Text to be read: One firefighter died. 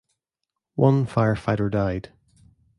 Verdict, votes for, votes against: accepted, 2, 0